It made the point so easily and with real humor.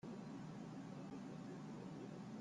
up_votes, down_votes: 0, 2